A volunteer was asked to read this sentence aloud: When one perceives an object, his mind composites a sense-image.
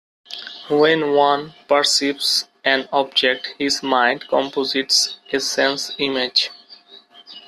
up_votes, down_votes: 2, 0